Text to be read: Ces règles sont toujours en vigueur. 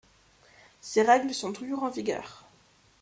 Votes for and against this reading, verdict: 2, 0, accepted